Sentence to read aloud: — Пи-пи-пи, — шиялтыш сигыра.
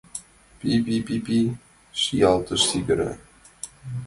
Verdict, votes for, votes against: accepted, 2, 1